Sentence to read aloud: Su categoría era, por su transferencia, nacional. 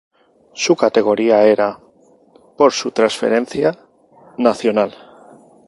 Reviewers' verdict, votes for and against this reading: accepted, 2, 0